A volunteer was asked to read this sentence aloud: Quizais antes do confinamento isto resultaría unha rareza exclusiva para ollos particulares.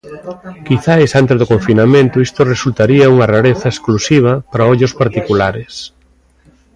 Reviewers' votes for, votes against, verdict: 2, 0, accepted